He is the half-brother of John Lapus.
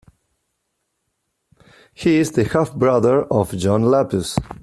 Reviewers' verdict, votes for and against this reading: accepted, 2, 0